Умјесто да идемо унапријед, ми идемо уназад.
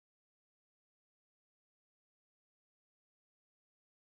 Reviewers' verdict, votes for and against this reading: rejected, 0, 2